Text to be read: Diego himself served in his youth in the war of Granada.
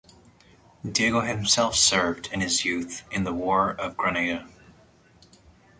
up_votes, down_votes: 2, 0